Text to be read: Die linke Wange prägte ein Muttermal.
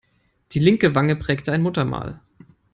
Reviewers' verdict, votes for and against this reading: accepted, 3, 0